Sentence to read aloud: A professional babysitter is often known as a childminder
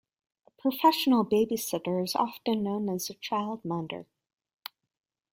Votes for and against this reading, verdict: 1, 2, rejected